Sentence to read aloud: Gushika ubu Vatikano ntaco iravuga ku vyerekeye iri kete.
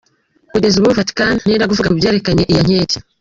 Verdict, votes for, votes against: rejected, 1, 2